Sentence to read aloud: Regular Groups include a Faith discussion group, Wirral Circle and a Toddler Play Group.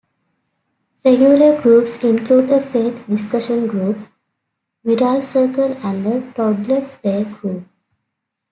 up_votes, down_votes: 2, 0